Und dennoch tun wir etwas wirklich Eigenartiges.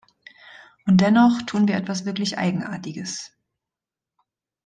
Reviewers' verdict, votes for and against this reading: accepted, 2, 0